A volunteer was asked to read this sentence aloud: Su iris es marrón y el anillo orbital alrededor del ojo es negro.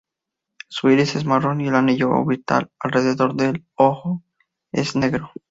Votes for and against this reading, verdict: 0, 2, rejected